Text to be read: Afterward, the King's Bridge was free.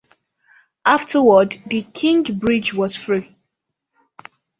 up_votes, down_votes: 2, 3